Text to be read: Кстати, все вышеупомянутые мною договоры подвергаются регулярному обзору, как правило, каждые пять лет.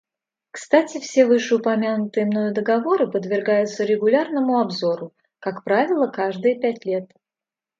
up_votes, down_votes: 2, 0